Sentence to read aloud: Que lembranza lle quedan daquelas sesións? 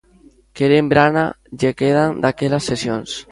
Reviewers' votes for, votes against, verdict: 0, 2, rejected